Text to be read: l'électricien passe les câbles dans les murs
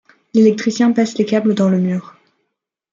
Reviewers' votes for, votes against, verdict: 1, 2, rejected